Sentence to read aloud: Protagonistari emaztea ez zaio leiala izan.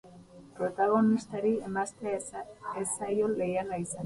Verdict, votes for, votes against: rejected, 2, 2